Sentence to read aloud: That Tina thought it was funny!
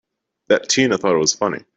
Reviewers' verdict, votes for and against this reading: accepted, 2, 0